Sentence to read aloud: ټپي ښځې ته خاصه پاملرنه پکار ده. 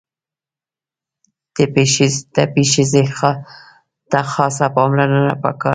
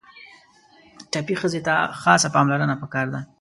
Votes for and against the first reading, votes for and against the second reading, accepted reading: 0, 2, 2, 1, second